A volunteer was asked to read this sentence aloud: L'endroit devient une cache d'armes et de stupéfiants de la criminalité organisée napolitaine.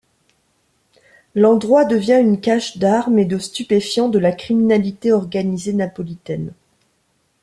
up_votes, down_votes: 2, 0